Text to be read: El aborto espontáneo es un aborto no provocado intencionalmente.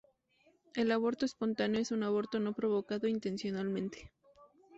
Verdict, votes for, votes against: accepted, 2, 0